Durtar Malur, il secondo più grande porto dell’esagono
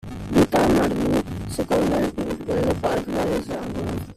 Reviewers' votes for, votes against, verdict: 0, 2, rejected